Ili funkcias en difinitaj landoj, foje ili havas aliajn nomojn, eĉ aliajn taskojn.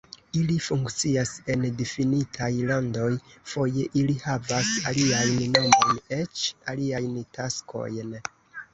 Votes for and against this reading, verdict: 2, 1, accepted